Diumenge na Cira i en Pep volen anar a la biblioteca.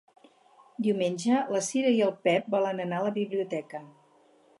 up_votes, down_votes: 0, 2